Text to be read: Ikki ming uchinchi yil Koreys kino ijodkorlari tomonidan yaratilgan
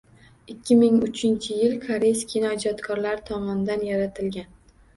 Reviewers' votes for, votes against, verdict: 2, 0, accepted